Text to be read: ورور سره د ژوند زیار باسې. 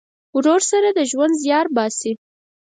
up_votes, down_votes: 4, 0